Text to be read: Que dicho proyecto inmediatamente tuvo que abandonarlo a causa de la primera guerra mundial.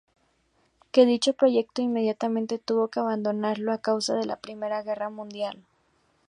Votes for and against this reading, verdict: 0, 2, rejected